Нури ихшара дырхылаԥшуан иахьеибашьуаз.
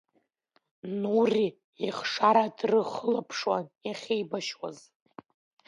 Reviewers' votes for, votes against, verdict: 1, 2, rejected